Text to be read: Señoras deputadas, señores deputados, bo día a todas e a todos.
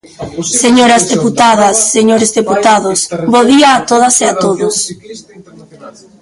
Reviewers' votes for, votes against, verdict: 1, 2, rejected